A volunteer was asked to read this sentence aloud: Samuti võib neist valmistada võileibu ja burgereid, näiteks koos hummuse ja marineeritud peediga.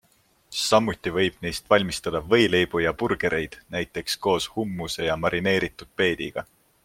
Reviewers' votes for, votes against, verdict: 2, 0, accepted